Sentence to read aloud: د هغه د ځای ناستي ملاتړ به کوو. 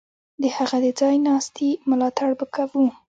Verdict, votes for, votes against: rejected, 1, 2